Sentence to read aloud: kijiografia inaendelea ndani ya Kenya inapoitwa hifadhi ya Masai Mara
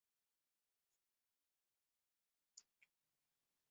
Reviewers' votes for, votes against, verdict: 0, 2, rejected